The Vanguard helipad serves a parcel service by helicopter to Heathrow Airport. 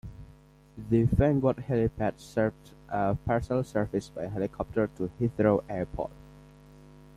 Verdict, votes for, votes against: rejected, 1, 2